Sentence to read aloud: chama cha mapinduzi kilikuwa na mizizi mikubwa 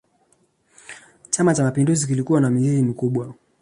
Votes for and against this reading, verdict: 2, 0, accepted